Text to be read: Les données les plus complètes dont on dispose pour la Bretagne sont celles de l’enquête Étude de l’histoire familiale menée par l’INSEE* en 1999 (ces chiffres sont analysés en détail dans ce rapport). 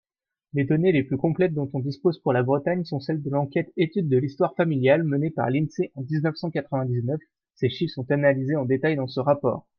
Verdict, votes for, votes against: rejected, 0, 2